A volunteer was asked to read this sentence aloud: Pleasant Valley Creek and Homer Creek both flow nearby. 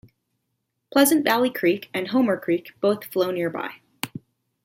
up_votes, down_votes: 2, 0